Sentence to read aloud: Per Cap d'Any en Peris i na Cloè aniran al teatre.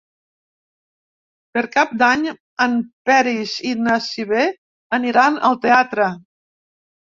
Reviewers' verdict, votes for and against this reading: rejected, 0, 2